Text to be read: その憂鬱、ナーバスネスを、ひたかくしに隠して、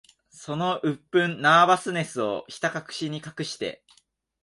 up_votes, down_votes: 1, 2